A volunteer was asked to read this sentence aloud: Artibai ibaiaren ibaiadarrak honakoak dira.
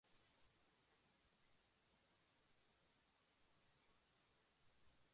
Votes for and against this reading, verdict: 0, 3, rejected